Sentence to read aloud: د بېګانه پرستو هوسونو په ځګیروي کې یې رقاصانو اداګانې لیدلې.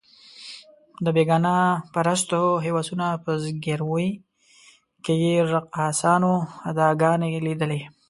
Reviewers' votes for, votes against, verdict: 2, 0, accepted